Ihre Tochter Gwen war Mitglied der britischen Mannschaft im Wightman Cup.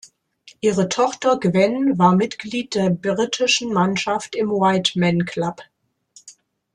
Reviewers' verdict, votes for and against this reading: rejected, 0, 2